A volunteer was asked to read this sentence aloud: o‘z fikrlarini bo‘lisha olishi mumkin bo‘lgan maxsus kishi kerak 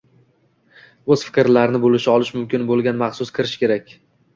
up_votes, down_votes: 2, 1